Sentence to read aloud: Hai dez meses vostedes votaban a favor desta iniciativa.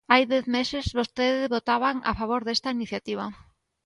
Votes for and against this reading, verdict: 2, 0, accepted